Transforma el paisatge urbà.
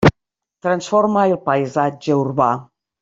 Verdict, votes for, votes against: accepted, 3, 0